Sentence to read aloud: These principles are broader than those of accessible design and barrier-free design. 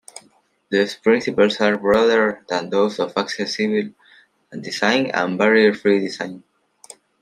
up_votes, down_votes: 2, 1